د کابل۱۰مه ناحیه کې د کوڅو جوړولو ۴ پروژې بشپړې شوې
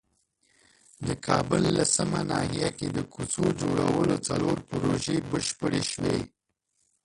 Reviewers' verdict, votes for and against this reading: rejected, 0, 2